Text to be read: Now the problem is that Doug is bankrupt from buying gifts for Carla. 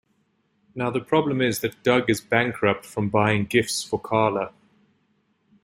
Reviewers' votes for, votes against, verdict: 2, 0, accepted